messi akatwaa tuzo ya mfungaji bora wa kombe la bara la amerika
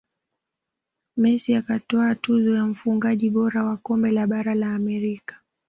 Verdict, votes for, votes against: accepted, 2, 0